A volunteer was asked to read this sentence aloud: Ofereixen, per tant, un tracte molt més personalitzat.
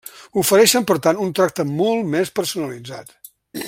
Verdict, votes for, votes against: accepted, 3, 0